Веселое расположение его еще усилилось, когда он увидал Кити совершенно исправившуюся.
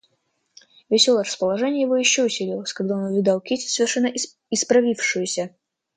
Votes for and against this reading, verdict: 0, 2, rejected